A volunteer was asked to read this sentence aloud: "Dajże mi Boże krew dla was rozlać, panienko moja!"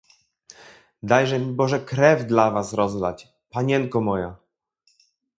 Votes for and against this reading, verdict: 2, 0, accepted